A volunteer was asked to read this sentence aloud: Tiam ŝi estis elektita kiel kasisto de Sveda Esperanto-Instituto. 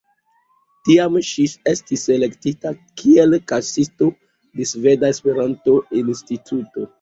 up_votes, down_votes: 0, 2